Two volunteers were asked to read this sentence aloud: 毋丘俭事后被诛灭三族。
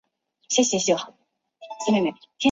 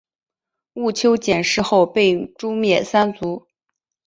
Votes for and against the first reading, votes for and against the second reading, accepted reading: 0, 2, 5, 0, second